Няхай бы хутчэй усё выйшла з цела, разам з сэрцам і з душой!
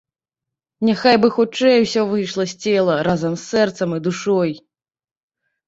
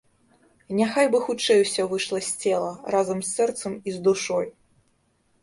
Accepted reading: second